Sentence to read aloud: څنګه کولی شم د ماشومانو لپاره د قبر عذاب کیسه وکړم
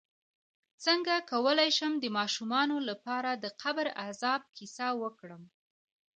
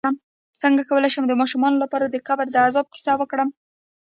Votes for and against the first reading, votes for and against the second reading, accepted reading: 2, 1, 0, 2, first